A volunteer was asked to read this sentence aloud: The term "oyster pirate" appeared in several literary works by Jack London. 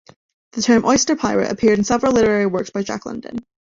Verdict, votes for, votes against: rejected, 0, 2